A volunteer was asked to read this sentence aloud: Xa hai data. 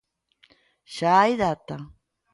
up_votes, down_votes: 2, 1